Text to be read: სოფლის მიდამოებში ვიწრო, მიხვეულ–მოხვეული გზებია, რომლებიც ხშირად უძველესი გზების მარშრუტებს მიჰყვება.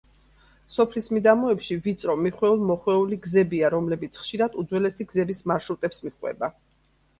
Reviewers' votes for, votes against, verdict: 2, 0, accepted